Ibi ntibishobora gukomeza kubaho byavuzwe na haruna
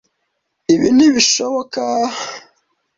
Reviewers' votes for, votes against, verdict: 1, 2, rejected